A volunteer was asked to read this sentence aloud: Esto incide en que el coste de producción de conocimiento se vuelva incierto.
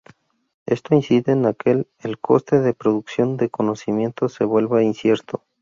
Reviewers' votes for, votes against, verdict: 0, 2, rejected